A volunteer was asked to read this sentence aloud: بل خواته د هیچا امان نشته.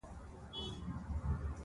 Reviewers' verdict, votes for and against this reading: rejected, 0, 2